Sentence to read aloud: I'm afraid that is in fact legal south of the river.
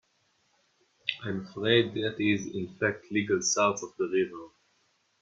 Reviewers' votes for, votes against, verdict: 2, 0, accepted